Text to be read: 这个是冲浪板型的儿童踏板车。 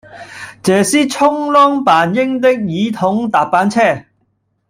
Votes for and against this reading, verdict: 1, 2, rejected